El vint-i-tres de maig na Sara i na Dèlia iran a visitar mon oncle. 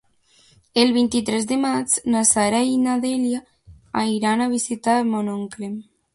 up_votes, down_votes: 1, 2